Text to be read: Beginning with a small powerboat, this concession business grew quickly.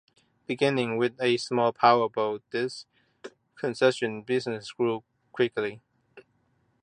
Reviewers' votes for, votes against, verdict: 2, 0, accepted